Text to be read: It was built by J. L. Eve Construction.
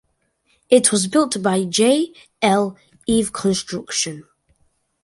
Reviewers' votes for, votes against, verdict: 2, 0, accepted